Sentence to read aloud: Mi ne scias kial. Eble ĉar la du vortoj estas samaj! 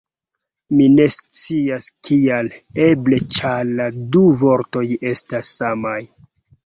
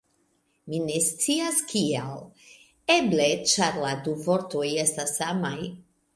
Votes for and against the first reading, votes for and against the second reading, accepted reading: 0, 2, 2, 0, second